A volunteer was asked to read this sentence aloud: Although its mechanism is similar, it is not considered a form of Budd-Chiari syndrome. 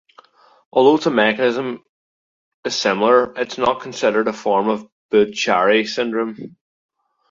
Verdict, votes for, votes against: rejected, 0, 2